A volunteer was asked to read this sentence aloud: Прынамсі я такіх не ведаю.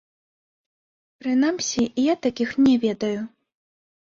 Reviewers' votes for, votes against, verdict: 0, 2, rejected